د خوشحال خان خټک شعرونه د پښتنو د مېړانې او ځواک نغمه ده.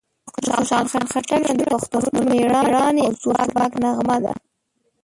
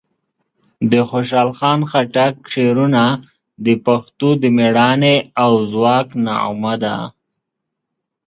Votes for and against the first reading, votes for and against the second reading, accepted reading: 1, 4, 2, 1, second